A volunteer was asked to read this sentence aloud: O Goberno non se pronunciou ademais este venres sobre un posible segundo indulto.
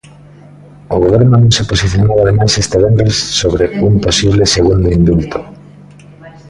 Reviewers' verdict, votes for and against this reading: rejected, 0, 2